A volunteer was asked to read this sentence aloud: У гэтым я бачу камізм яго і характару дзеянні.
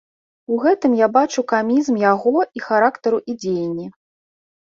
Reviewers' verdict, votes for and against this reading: rejected, 0, 2